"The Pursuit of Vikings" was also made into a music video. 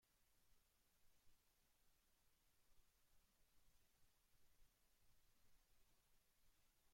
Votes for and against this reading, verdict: 0, 2, rejected